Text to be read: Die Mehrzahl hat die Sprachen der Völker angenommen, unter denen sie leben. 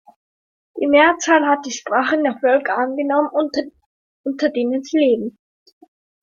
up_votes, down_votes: 1, 2